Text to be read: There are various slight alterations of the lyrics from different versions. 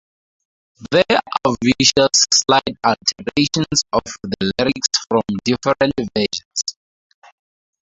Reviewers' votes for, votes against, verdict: 2, 2, rejected